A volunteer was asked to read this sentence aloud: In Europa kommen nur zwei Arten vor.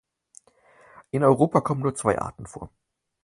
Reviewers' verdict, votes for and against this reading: accepted, 4, 0